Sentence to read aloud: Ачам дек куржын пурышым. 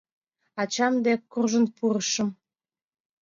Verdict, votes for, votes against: accepted, 2, 0